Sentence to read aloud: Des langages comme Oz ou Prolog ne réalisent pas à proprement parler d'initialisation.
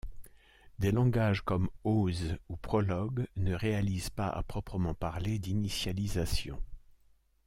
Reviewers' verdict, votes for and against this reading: accepted, 2, 0